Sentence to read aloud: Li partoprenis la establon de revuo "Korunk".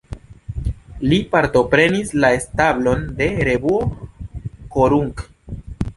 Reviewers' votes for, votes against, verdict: 2, 1, accepted